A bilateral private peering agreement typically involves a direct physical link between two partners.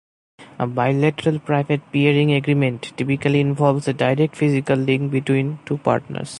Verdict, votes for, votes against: accepted, 2, 0